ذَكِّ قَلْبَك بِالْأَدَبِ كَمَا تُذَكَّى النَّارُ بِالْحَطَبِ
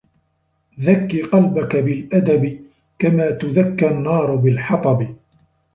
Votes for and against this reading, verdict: 0, 2, rejected